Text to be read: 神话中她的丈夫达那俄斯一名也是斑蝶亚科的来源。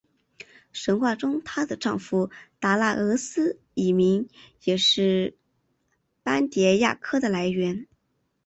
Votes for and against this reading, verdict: 4, 0, accepted